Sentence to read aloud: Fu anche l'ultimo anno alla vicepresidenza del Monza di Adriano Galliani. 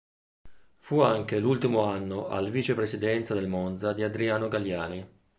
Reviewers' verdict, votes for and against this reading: rejected, 1, 2